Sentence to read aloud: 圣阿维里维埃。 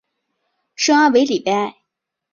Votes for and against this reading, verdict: 1, 2, rejected